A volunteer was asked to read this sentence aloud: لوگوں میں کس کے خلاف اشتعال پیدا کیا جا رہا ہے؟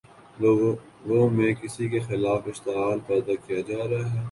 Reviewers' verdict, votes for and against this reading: rejected, 0, 2